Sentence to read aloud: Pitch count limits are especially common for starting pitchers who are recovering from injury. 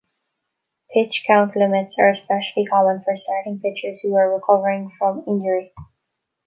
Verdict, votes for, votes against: rejected, 0, 2